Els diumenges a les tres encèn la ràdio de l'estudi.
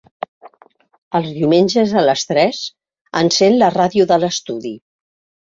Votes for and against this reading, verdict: 5, 0, accepted